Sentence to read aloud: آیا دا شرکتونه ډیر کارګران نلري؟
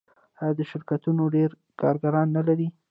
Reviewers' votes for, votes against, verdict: 0, 2, rejected